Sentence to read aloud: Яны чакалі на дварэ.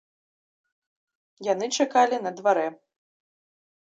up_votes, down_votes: 2, 0